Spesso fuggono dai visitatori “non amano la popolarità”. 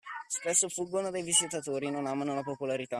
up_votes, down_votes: 2, 0